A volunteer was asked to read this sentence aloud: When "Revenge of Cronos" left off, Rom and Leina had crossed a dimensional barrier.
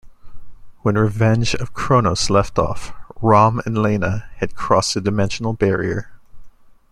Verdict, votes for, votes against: accepted, 2, 0